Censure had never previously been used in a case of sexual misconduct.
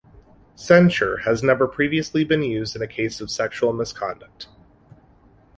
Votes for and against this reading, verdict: 1, 2, rejected